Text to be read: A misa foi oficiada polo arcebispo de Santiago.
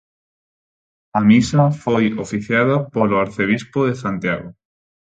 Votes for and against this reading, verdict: 4, 0, accepted